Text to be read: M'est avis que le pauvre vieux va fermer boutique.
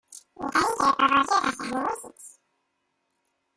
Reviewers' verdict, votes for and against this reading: rejected, 0, 2